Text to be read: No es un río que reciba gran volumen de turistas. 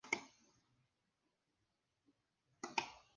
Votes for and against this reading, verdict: 0, 2, rejected